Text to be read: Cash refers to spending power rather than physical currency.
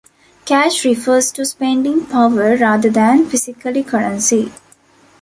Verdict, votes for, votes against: rejected, 0, 2